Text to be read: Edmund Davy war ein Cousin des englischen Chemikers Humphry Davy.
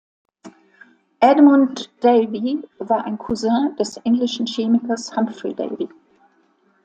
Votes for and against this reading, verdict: 2, 1, accepted